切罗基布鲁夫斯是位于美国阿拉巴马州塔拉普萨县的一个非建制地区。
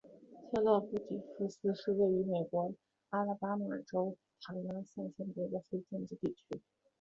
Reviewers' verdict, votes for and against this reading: rejected, 0, 2